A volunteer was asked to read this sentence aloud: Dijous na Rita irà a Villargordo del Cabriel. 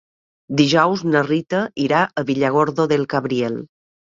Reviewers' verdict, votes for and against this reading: rejected, 1, 2